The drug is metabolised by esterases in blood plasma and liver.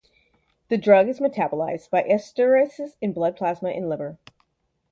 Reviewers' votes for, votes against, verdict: 2, 2, rejected